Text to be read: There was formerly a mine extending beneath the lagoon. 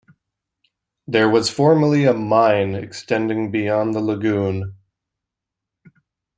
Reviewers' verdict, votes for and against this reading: rejected, 0, 2